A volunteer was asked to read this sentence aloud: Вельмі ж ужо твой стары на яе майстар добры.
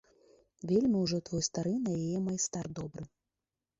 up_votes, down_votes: 0, 2